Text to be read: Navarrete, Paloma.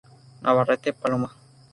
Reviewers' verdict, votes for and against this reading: accepted, 4, 0